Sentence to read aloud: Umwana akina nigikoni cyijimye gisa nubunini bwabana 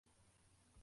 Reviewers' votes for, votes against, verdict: 0, 2, rejected